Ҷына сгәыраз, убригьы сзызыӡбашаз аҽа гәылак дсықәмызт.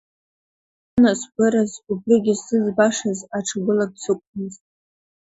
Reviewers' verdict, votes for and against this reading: rejected, 0, 2